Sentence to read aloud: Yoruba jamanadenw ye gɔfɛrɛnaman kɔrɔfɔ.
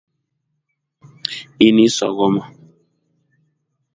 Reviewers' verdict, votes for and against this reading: rejected, 0, 2